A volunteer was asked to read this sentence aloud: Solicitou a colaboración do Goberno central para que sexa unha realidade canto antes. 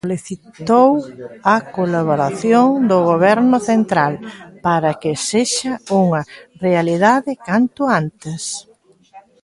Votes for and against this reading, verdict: 0, 2, rejected